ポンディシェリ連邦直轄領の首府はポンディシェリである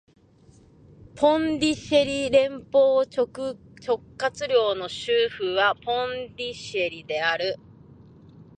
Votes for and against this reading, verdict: 1, 2, rejected